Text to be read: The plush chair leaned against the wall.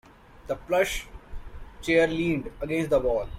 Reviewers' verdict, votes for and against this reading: accepted, 2, 0